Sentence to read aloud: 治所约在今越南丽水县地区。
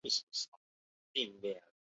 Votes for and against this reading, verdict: 0, 4, rejected